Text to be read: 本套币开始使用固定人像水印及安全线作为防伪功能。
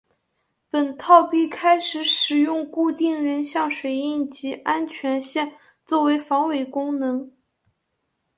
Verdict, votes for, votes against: accepted, 2, 0